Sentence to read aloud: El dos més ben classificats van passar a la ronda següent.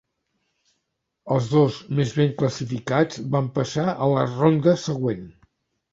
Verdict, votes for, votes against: accepted, 2, 0